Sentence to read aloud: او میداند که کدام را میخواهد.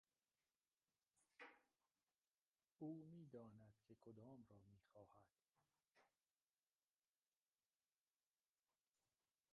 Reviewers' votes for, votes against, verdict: 0, 2, rejected